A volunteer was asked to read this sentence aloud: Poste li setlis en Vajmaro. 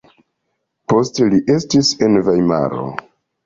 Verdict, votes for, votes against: accepted, 2, 0